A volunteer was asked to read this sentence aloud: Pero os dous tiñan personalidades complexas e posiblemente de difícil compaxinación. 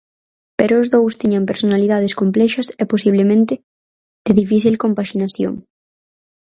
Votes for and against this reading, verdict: 4, 2, accepted